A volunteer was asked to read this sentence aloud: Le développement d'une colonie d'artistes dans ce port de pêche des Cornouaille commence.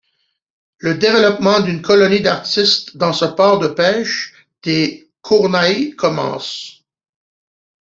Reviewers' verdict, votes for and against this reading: rejected, 0, 2